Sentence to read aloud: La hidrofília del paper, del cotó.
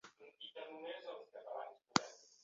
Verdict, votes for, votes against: rejected, 0, 2